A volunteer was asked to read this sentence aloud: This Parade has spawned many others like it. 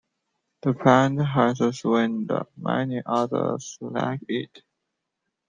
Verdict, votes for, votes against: rejected, 0, 2